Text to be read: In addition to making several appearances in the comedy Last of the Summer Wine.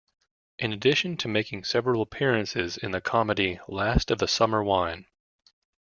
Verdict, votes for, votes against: accepted, 2, 0